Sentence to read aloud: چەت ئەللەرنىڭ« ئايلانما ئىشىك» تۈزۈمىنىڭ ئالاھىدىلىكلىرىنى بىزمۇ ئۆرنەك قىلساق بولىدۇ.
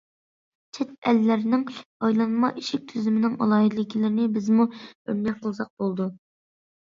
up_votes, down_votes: 2, 0